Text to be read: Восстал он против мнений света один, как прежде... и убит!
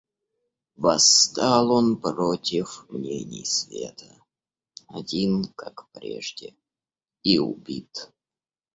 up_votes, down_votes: 2, 0